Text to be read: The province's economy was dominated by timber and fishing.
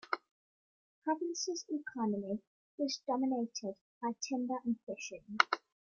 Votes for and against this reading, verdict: 2, 0, accepted